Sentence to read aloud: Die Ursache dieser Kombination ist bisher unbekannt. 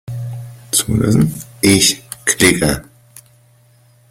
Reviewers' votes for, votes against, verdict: 0, 2, rejected